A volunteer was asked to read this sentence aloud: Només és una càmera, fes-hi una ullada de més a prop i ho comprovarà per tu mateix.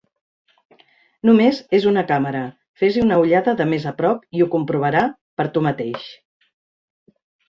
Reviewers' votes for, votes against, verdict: 3, 0, accepted